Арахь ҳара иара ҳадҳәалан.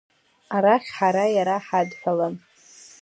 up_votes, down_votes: 0, 2